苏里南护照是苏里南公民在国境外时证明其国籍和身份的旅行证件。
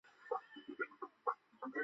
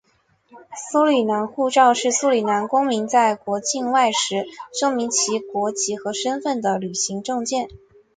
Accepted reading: second